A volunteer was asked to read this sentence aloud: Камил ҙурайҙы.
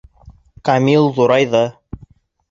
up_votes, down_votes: 2, 0